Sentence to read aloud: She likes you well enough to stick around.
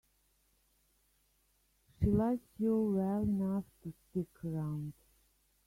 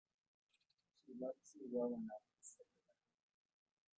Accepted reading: first